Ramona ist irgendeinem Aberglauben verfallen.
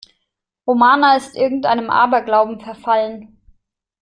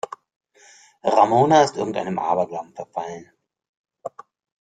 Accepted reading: second